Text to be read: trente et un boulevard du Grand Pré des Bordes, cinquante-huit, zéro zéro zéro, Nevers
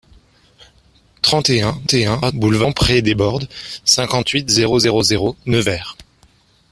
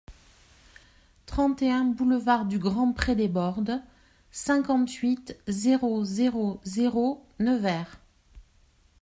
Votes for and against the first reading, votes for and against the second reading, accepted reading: 0, 2, 2, 0, second